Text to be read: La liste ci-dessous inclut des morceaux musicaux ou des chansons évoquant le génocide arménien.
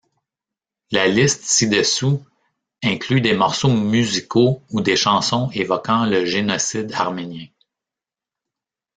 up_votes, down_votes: 2, 1